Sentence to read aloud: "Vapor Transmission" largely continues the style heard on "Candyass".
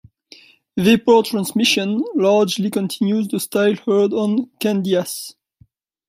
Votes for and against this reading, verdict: 2, 0, accepted